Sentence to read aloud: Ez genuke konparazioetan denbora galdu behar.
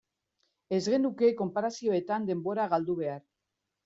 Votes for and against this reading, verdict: 2, 0, accepted